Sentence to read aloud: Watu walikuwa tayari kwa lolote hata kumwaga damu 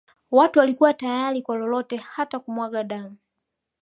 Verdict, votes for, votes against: accepted, 2, 0